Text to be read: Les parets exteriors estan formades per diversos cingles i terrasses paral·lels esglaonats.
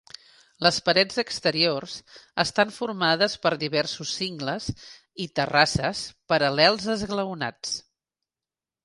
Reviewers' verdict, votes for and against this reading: accepted, 4, 1